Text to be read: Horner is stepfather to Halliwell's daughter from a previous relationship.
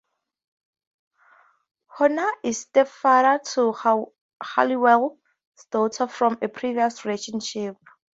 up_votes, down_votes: 0, 2